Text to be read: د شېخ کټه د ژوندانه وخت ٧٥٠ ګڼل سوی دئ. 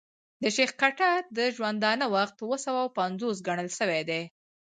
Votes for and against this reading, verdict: 0, 2, rejected